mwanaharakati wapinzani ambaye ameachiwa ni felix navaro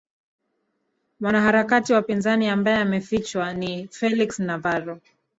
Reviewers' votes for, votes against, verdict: 1, 2, rejected